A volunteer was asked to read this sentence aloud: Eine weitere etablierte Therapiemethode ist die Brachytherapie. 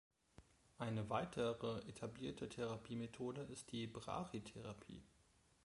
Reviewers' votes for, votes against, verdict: 1, 2, rejected